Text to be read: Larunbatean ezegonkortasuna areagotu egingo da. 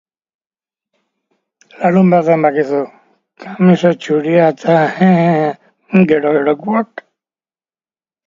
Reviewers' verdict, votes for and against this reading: rejected, 0, 3